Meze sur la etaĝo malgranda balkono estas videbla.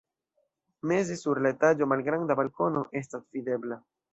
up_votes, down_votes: 2, 0